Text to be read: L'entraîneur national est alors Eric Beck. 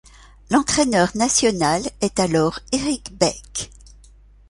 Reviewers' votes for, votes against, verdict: 2, 0, accepted